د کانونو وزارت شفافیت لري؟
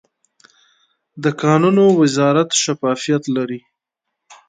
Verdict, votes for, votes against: accepted, 2, 0